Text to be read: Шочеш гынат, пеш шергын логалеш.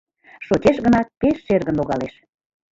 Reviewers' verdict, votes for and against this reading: rejected, 1, 2